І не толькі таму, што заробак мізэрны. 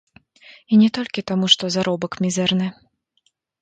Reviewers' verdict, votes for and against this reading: rejected, 0, 2